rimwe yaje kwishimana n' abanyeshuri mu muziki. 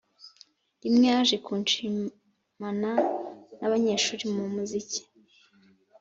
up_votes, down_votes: 1, 2